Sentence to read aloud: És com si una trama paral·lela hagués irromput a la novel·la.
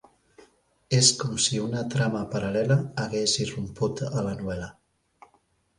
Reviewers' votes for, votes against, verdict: 2, 0, accepted